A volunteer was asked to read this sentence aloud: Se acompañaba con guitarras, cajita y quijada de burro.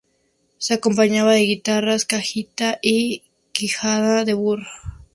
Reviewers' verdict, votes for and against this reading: rejected, 0, 2